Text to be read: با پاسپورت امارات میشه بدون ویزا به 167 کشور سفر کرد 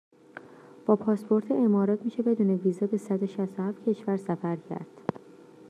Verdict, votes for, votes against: rejected, 0, 2